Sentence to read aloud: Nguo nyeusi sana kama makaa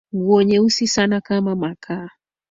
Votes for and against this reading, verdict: 5, 0, accepted